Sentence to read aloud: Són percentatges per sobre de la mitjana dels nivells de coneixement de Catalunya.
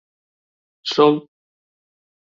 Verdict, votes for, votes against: rejected, 0, 2